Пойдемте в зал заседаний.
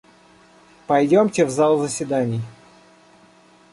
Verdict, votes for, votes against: accepted, 2, 0